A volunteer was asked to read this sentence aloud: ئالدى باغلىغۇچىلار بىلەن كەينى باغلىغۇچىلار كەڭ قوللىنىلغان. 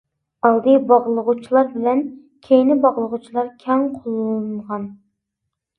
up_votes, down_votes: 2, 0